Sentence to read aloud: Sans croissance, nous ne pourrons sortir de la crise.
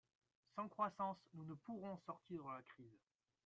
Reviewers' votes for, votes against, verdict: 1, 2, rejected